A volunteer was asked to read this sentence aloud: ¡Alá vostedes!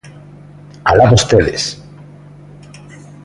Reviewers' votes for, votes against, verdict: 2, 0, accepted